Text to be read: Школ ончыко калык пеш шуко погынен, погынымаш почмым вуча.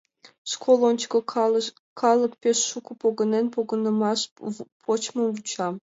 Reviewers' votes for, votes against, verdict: 0, 2, rejected